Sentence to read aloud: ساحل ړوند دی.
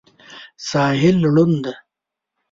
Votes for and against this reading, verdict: 0, 2, rejected